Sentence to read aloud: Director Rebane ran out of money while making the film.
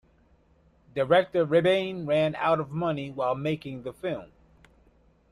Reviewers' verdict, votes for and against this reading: accepted, 2, 0